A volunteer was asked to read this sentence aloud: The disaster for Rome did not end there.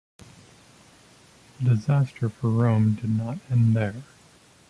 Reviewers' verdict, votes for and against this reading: accepted, 2, 0